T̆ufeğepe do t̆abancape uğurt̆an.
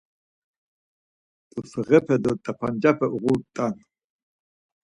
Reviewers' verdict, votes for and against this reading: accepted, 4, 2